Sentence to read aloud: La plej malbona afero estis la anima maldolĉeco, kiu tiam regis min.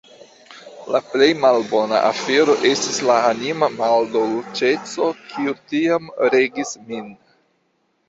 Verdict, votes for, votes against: accepted, 2, 1